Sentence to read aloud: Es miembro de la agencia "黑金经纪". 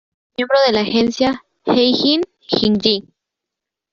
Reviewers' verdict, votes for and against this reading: rejected, 1, 2